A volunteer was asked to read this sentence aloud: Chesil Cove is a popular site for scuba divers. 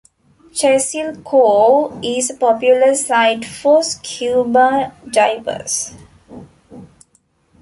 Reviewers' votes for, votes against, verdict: 1, 2, rejected